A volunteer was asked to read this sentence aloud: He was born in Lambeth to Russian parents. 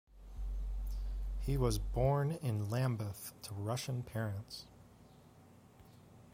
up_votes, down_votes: 2, 0